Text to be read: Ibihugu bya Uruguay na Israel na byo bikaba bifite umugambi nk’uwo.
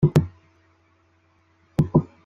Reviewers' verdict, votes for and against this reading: rejected, 0, 2